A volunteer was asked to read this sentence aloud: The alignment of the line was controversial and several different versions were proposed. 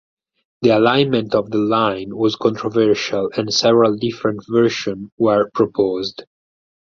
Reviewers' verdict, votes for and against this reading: rejected, 0, 4